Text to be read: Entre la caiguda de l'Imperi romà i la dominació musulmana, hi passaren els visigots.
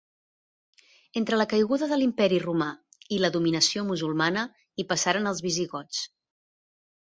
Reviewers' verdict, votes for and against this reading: accepted, 2, 0